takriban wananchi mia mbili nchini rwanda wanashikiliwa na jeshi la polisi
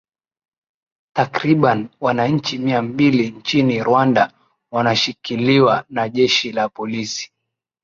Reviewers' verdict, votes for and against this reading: accepted, 11, 1